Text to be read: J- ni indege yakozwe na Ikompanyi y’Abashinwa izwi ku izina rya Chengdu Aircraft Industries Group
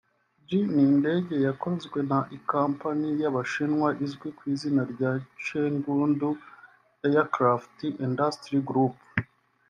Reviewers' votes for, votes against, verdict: 0, 2, rejected